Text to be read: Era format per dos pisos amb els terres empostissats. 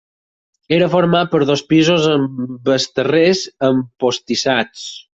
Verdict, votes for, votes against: rejected, 0, 4